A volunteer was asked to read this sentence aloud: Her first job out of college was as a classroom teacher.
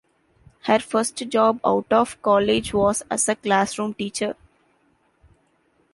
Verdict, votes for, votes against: accepted, 2, 0